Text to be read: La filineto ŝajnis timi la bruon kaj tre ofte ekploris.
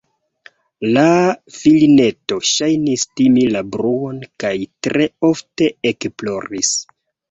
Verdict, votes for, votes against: rejected, 0, 2